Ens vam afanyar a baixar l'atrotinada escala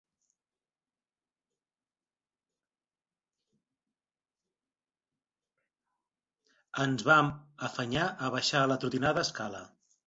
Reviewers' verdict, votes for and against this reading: rejected, 0, 2